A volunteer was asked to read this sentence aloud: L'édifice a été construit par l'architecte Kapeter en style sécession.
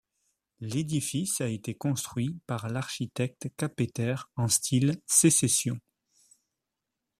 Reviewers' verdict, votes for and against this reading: accepted, 2, 0